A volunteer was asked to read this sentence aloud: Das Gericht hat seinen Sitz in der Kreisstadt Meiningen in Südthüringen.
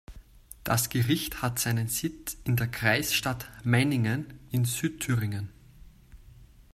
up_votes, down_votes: 2, 0